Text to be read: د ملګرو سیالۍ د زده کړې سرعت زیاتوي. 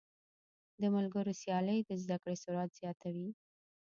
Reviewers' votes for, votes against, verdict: 2, 1, accepted